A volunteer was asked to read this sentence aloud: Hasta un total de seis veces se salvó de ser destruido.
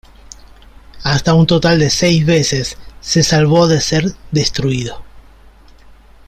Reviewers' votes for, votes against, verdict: 2, 0, accepted